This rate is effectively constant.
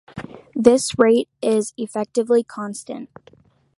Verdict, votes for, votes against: accepted, 2, 1